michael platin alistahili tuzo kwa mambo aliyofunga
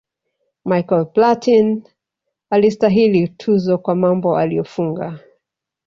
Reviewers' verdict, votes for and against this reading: rejected, 1, 2